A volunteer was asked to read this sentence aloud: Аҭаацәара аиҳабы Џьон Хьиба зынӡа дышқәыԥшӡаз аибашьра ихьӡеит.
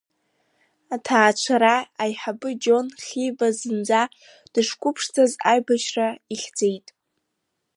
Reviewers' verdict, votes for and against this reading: accepted, 2, 0